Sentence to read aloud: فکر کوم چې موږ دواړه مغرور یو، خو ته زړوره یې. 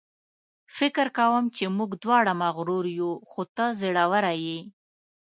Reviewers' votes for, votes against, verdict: 2, 0, accepted